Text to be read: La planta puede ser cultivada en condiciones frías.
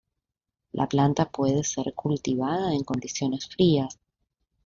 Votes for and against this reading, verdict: 2, 1, accepted